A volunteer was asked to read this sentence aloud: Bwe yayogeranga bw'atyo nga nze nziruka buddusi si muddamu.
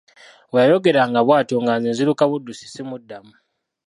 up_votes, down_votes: 0, 2